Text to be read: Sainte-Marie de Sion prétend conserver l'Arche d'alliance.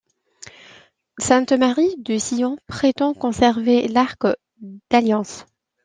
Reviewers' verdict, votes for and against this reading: rejected, 0, 2